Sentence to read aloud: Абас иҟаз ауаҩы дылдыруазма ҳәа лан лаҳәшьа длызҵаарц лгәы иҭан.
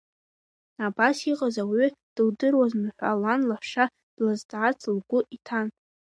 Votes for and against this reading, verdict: 3, 0, accepted